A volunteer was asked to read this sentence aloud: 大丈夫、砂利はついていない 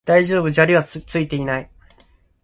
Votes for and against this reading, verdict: 0, 2, rejected